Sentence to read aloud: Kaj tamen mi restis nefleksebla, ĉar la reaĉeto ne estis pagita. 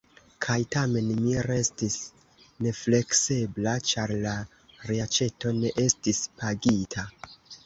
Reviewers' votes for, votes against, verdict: 2, 1, accepted